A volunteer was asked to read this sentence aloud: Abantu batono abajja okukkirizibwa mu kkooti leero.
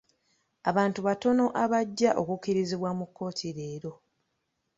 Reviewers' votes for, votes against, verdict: 2, 0, accepted